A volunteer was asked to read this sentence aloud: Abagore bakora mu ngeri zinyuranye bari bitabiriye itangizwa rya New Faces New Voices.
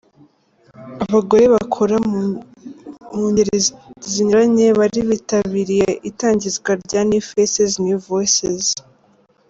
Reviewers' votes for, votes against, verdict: 1, 2, rejected